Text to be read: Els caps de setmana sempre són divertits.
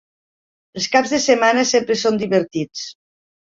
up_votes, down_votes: 4, 0